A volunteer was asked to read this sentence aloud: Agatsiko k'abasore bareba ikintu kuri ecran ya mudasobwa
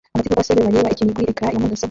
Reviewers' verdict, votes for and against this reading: rejected, 0, 2